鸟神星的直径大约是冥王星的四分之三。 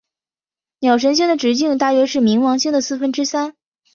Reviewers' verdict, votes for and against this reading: accepted, 3, 2